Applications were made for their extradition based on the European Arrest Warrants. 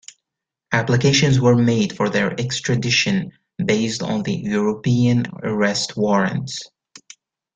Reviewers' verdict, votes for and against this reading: accepted, 2, 0